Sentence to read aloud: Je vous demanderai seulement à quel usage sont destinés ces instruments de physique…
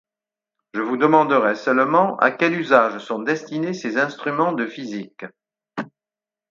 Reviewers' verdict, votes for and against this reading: accepted, 6, 0